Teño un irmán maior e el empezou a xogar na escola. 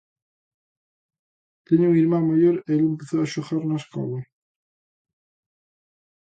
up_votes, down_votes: 2, 1